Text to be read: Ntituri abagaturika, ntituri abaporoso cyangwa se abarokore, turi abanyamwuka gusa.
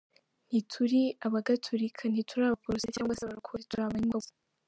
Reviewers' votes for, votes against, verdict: 0, 3, rejected